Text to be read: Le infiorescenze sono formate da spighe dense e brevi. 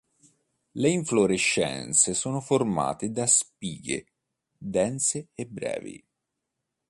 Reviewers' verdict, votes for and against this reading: accepted, 2, 0